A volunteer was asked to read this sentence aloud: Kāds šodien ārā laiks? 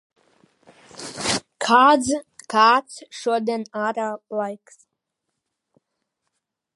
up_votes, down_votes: 0, 2